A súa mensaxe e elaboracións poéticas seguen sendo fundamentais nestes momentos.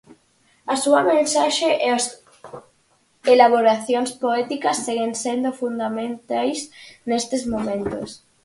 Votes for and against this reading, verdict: 0, 4, rejected